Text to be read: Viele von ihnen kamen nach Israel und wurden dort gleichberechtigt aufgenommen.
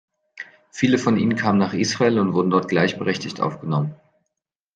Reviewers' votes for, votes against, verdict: 2, 0, accepted